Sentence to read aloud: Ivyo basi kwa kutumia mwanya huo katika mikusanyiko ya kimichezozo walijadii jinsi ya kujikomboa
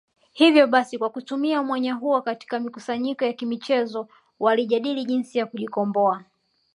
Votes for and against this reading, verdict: 1, 2, rejected